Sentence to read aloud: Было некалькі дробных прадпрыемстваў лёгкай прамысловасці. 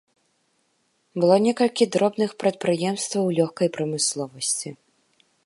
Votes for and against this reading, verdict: 2, 0, accepted